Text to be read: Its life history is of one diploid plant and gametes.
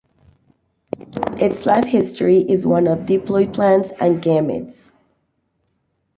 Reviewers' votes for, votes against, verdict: 0, 2, rejected